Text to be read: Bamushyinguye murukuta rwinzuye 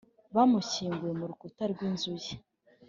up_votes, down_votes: 3, 0